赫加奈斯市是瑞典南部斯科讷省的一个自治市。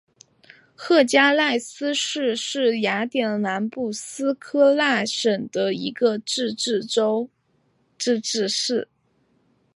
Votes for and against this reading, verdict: 4, 5, rejected